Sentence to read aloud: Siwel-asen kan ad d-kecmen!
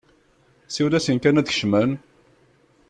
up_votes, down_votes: 2, 0